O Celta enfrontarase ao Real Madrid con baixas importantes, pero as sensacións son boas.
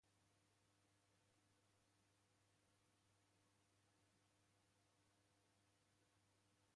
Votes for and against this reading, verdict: 0, 2, rejected